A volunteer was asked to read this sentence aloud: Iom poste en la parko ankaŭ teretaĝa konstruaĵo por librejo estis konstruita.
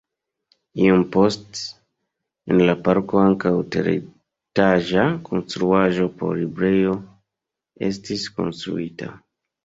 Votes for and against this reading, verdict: 1, 2, rejected